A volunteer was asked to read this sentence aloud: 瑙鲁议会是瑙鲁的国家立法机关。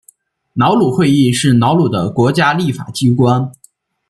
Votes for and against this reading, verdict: 0, 2, rejected